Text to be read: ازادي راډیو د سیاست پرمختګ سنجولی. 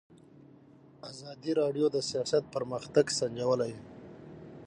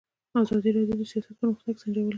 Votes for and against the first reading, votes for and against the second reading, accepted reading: 6, 3, 0, 2, first